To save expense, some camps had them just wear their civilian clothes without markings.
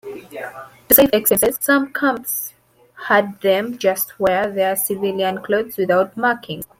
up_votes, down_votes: 0, 2